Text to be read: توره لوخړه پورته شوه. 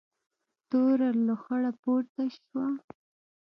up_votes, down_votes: 2, 0